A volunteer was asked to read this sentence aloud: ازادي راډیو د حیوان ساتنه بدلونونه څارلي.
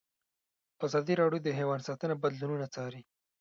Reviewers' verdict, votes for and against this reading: rejected, 1, 2